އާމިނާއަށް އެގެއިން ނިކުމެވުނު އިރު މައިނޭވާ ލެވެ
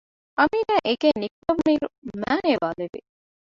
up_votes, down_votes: 0, 2